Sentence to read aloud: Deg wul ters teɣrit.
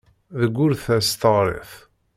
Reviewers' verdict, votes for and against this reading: accepted, 2, 0